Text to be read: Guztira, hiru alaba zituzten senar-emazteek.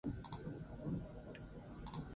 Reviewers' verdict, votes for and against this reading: rejected, 0, 6